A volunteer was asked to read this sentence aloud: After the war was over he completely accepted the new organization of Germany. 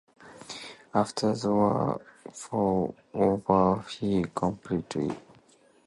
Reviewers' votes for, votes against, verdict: 0, 2, rejected